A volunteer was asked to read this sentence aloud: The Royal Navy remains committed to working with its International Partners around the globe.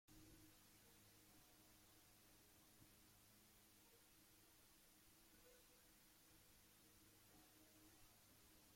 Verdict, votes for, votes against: rejected, 0, 2